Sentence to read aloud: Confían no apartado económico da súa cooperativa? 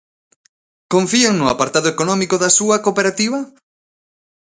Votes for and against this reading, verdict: 2, 0, accepted